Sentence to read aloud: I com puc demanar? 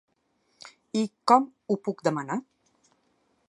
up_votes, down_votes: 1, 2